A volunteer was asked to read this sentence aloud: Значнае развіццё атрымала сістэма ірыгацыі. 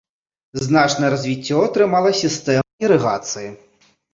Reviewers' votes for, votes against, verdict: 1, 2, rejected